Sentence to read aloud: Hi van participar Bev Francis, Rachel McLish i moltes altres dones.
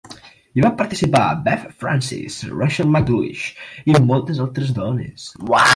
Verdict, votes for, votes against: rejected, 1, 2